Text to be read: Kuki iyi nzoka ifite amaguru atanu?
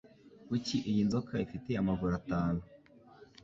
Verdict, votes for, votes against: accepted, 2, 0